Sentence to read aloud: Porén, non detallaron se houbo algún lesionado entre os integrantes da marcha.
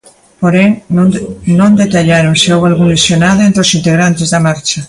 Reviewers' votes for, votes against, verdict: 2, 0, accepted